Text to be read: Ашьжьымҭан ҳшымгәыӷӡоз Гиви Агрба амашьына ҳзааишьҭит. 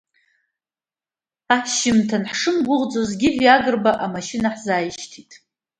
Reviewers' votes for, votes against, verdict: 2, 0, accepted